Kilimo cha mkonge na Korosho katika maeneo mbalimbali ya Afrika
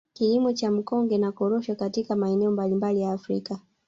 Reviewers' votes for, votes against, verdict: 2, 1, accepted